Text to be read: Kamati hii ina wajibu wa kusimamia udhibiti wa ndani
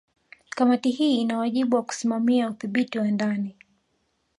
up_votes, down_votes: 1, 2